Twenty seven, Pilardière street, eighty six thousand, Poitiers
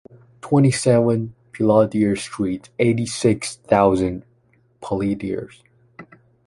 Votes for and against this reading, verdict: 0, 2, rejected